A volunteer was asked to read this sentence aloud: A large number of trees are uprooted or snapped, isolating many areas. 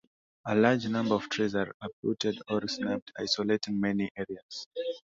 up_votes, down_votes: 2, 1